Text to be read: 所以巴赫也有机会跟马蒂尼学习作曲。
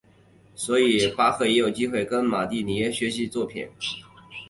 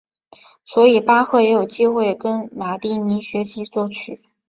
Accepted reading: second